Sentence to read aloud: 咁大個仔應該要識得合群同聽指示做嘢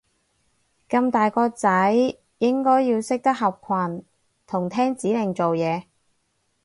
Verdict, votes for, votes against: rejected, 2, 4